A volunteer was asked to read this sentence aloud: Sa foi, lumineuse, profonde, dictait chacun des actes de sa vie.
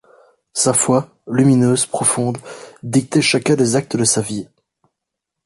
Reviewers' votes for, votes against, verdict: 2, 0, accepted